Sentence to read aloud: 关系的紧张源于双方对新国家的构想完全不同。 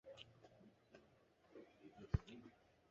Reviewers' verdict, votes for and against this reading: rejected, 0, 3